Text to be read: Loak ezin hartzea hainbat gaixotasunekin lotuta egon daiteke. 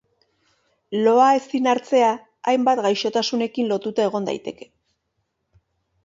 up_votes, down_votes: 1, 2